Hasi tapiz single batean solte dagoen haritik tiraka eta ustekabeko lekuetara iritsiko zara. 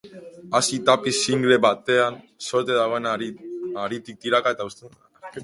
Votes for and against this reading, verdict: 1, 5, rejected